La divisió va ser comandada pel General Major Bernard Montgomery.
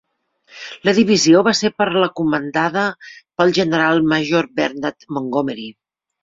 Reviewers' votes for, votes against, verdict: 0, 2, rejected